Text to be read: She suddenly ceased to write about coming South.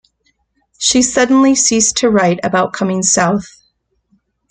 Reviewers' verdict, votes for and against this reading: accepted, 2, 1